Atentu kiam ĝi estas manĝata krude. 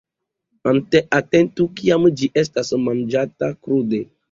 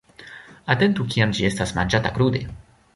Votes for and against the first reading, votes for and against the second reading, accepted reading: 0, 2, 2, 1, second